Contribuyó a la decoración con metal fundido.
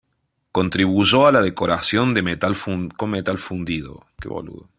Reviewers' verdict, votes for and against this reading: rejected, 0, 2